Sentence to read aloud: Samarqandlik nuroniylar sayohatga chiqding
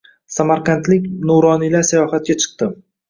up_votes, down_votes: 2, 0